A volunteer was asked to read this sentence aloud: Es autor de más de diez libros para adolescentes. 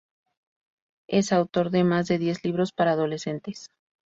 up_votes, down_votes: 2, 0